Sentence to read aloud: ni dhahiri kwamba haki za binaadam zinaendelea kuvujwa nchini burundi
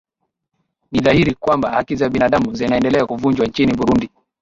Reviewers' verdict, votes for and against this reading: accepted, 2, 0